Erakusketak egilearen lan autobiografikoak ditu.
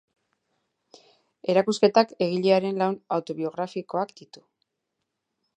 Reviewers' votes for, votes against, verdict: 4, 0, accepted